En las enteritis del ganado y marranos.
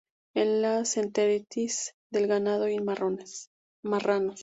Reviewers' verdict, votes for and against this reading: rejected, 0, 2